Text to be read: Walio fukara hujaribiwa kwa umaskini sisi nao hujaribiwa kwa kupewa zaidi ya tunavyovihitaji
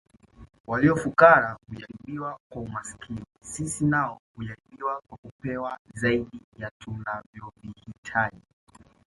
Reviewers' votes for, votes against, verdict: 2, 1, accepted